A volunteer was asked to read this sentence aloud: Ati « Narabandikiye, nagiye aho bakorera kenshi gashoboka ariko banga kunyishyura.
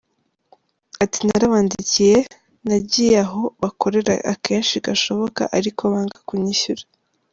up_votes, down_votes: 1, 2